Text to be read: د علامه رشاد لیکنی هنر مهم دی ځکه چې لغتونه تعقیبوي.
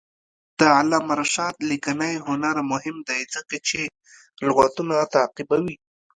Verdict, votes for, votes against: rejected, 1, 2